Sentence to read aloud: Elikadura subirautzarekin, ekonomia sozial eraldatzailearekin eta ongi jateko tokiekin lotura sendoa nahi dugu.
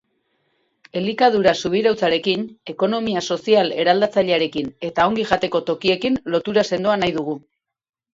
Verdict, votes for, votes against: accepted, 4, 0